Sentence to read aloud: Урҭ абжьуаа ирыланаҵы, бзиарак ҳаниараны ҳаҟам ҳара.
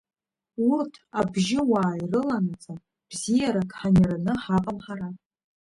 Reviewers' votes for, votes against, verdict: 1, 2, rejected